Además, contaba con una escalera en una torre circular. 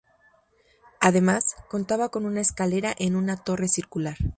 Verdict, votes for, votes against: accepted, 2, 0